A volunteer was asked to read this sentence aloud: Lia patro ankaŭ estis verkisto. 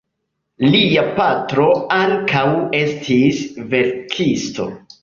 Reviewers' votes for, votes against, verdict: 3, 0, accepted